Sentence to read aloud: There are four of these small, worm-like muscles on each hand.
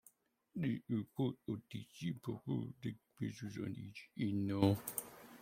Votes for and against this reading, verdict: 1, 2, rejected